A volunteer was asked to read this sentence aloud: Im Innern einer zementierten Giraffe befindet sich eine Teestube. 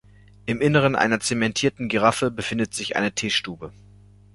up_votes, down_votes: 2, 1